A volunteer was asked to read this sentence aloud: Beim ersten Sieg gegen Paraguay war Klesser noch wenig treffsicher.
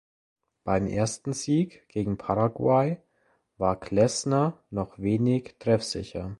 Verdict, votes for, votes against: rejected, 0, 2